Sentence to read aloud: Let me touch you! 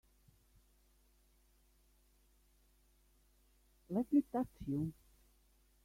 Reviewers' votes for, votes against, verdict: 1, 2, rejected